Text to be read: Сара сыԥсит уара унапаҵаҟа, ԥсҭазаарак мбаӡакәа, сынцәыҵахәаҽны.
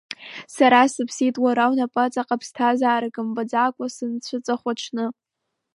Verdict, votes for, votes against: rejected, 0, 2